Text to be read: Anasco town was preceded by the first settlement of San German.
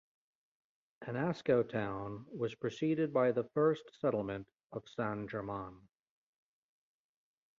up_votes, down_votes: 2, 1